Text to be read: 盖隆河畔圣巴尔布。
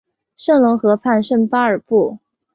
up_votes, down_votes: 2, 1